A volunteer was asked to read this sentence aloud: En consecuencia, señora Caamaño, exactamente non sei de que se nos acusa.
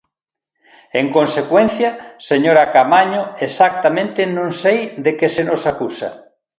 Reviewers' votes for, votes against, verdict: 2, 0, accepted